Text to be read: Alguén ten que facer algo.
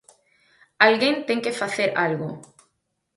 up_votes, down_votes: 4, 0